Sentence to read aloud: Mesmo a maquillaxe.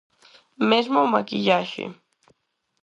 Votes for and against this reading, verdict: 4, 2, accepted